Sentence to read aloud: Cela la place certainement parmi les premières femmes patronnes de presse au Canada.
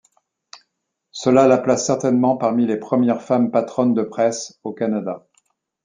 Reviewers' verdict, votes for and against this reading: accepted, 2, 0